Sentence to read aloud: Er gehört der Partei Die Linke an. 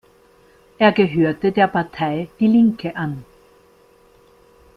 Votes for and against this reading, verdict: 0, 2, rejected